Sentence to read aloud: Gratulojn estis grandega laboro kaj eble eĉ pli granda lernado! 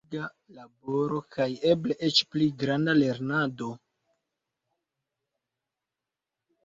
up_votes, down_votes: 0, 2